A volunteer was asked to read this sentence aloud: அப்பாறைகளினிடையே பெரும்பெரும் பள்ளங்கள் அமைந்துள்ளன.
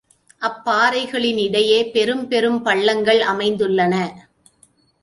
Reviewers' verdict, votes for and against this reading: accepted, 2, 0